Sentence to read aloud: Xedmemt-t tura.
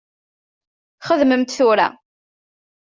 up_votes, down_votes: 1, 2